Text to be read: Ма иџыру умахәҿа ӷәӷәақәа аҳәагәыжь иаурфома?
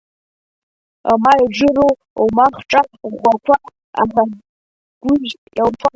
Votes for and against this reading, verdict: 2, 0, accepted